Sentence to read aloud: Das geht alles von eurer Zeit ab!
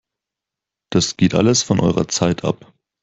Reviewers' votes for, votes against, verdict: 4, 0, accepted